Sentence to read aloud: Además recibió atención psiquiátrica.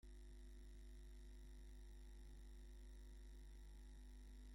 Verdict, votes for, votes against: rejected, 0, 2